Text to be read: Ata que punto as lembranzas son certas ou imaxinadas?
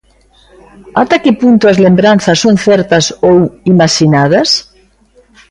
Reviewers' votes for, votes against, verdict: 3, 0, accepted